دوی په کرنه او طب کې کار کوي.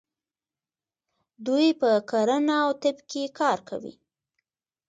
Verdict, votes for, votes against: rejected, 1, 2